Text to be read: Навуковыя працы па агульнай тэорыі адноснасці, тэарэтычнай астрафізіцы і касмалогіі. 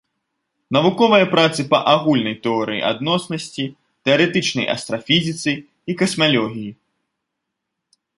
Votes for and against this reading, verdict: 0, 2, rejected